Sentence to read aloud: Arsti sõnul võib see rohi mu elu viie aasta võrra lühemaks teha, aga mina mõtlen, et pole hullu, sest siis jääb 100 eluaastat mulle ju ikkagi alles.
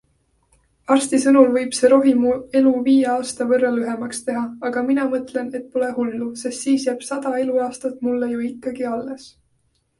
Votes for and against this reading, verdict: 0, 2, rejected